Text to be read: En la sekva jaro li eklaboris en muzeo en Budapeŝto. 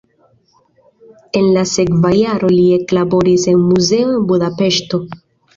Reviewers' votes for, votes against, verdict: 2, 0, accepted